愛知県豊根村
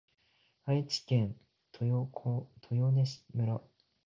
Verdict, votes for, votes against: rejected, 0, 2